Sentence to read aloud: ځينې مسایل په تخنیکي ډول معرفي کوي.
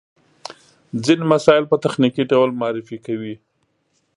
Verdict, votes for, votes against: accepted, 2, 0